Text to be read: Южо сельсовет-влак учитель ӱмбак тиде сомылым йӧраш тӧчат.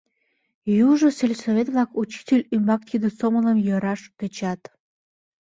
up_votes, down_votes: 2, 0